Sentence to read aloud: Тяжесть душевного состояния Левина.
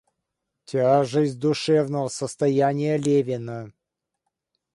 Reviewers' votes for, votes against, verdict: 2, 0, accepted